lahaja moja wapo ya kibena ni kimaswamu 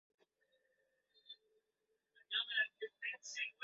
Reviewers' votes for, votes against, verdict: 1, 2, rejected